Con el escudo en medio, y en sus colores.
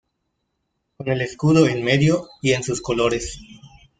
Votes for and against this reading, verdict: 0, 2, rejected